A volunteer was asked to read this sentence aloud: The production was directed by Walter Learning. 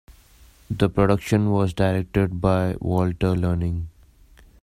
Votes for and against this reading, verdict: 2, 0, accepted